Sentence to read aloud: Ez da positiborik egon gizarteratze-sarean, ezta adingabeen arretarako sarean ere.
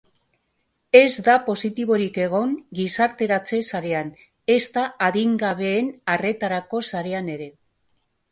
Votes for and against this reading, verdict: 2, 0, accepted